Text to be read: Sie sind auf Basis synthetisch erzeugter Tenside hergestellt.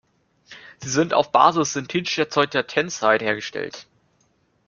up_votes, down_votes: 0, 2